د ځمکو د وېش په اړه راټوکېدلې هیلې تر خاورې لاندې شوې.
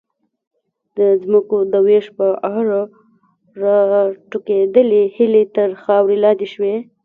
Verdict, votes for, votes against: rejected, 1, 2